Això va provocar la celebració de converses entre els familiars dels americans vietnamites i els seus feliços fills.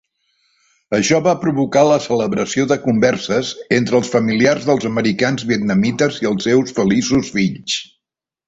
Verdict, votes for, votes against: accepted, 2, 1